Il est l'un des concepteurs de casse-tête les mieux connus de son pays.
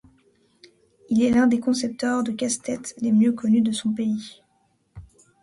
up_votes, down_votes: 2, 0